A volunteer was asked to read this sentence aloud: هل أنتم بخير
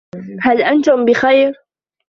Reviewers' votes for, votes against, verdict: 1, 2, rejected